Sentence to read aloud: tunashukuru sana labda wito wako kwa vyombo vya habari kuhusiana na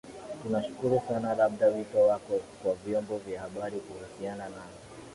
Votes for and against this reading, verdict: 0, 2, rejected